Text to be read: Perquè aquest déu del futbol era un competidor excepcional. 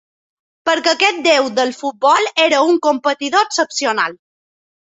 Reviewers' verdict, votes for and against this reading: accepted, 4, 0